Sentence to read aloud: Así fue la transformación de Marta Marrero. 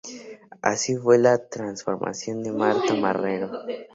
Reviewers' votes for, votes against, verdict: 2, 2, rejected